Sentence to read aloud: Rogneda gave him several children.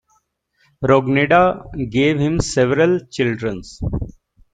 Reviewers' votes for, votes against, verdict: 1, 2, rejected